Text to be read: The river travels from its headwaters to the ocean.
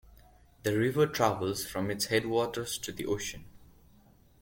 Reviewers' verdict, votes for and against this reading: accepted, 2, 0